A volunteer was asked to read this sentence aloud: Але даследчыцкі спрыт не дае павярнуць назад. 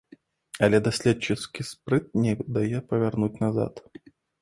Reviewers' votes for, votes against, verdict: 0, 2, rejected